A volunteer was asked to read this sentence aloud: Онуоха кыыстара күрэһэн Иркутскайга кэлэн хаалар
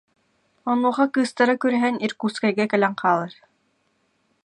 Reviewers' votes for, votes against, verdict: 2, 0, accepted